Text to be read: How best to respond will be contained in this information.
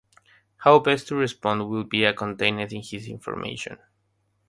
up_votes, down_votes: 3, 0